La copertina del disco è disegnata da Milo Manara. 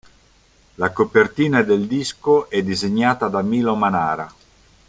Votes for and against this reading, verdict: 2, 0, accepted